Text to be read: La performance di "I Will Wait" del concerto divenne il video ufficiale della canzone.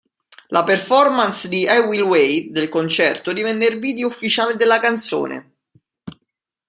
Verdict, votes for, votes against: rejected, 1, 2